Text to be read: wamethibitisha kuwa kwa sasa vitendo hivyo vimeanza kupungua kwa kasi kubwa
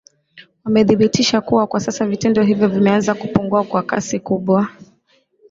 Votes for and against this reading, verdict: 0, 2, rejected